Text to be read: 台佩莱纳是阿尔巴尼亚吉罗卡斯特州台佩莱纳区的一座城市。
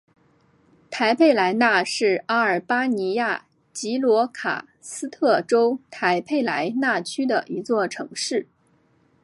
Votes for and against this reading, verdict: 4, 1, accepted